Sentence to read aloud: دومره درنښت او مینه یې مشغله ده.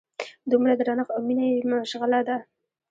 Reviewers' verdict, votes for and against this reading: rejected, 1, 2